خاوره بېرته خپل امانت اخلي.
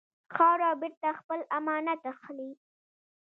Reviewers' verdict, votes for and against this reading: rejected, 1, 2